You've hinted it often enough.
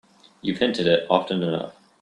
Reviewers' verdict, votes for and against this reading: accepted, 2, 1